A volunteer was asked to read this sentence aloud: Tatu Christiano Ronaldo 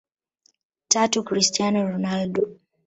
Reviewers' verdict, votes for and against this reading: accepted, 2, 0